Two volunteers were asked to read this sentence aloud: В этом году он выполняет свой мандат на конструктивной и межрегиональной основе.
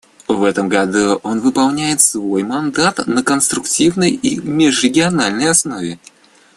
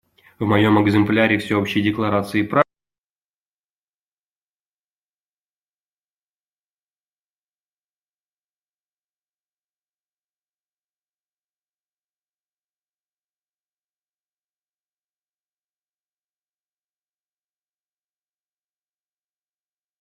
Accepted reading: first